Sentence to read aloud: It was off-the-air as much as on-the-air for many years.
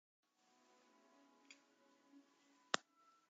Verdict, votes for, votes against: rejected, 0, 2